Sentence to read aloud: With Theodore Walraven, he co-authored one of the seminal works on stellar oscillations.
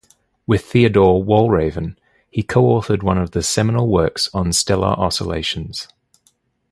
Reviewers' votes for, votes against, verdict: 2, 0, accepted